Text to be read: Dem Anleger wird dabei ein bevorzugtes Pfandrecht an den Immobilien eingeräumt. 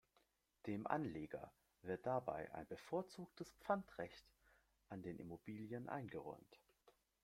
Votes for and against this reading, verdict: 1, 2, rejected